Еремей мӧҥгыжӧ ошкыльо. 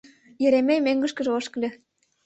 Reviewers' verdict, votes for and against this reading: rejected, 0, 2